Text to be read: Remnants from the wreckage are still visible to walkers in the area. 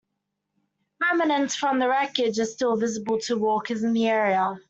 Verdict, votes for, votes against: rejected, 1, 2